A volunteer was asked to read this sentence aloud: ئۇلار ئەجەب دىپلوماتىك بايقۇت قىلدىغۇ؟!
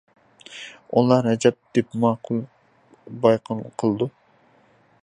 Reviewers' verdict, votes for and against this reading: rejected, 0, 2